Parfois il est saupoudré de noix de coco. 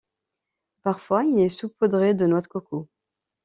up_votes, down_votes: 1, 2